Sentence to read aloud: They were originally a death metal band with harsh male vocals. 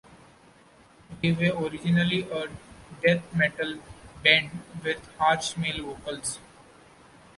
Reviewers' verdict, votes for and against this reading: rejected, 0, 2